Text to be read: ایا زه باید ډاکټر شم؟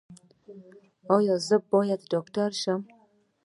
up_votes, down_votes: 2, 0